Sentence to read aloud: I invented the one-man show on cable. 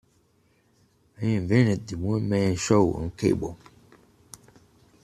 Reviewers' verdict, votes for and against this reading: accepted, 2, 1